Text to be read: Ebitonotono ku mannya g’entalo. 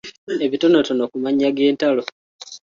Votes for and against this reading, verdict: 2, 0, accepted